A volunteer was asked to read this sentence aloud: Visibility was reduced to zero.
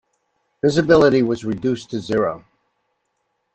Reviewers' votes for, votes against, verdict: 2, 0, accepted